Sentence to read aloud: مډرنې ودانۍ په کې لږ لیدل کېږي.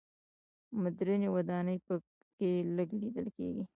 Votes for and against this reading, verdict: 2, 0, accepted